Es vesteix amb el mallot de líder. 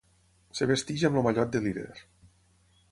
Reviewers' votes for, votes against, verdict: 6, 9, rejected